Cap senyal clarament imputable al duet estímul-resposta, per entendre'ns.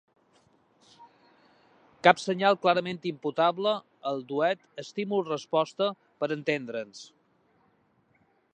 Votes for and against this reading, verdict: 2, 0, accepted